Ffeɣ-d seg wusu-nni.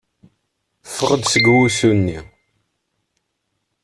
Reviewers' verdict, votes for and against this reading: accepted, 3, 0